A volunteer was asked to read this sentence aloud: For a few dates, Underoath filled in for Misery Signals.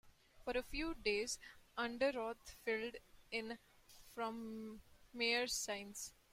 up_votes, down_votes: 0, 2